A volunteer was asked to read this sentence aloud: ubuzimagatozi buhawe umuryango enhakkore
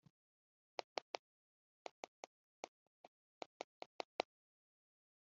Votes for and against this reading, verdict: 0, 2, rejected